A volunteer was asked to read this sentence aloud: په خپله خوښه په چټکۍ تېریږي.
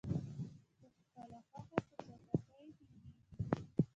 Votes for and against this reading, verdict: 1, 2, rejected